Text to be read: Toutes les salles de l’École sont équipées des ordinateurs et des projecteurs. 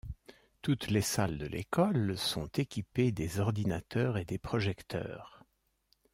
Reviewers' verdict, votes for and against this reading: accepted, 2, 0